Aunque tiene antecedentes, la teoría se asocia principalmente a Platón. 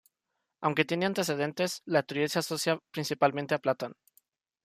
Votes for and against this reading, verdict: 1, 2, rejected